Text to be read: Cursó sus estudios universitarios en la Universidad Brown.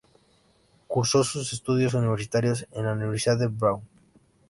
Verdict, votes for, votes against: accepted, 2, 0